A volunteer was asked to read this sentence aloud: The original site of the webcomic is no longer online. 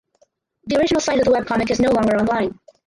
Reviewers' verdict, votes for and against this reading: rejected, 2, 4